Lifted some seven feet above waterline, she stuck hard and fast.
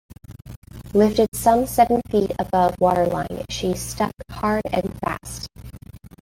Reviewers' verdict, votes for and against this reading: rejected, 0, 2